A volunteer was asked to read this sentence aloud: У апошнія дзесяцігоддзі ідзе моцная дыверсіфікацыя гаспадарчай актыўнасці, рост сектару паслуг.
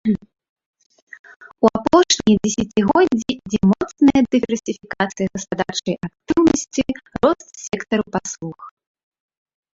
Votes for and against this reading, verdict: 0, 2, rejected